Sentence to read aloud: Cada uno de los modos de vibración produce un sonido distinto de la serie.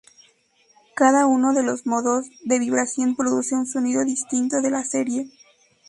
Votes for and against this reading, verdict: 2, 0, accepted